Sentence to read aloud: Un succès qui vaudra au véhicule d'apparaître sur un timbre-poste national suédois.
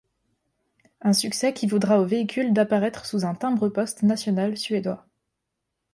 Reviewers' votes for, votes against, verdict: 0, 2, rejected